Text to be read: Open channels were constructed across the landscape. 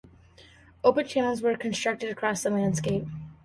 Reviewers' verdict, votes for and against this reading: accepted, 2, 0